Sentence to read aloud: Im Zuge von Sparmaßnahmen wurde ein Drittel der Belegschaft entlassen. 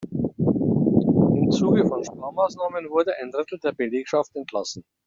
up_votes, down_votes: 1, 2